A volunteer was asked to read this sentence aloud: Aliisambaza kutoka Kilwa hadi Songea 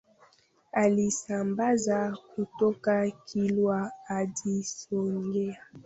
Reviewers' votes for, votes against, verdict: 2, 1, accepted